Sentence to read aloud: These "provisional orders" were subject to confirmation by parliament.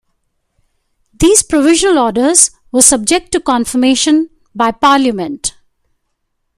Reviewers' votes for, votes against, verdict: 1, 2, rejected